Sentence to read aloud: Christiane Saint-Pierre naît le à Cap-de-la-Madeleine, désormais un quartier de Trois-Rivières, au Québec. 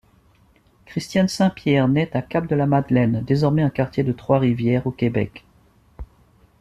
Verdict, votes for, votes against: rejected, 1, 2